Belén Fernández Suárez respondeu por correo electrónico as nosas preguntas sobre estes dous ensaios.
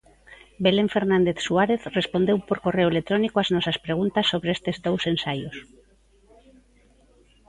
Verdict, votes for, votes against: accepted, 2, 0